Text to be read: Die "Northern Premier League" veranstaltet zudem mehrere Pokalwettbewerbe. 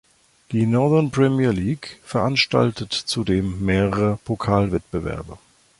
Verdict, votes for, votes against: accepted, 2, 0